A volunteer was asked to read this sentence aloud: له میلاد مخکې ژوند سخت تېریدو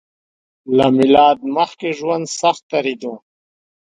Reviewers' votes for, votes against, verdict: 2, 0, accepted